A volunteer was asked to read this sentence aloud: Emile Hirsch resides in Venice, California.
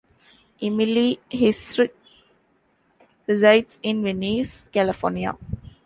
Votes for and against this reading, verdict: 0, 2, rejected